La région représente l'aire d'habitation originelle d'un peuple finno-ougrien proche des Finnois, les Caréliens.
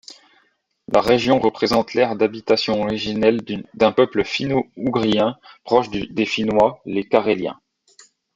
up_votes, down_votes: 0, 2